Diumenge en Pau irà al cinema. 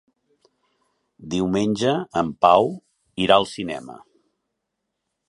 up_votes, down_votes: 3, 0